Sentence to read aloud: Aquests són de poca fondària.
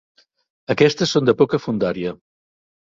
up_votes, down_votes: 2, 3